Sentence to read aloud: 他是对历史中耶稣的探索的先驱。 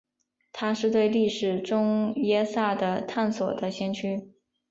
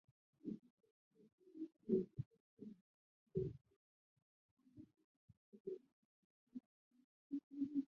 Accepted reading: first